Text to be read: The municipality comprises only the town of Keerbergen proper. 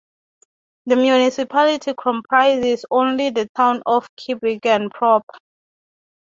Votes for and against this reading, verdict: 0, 3, rejected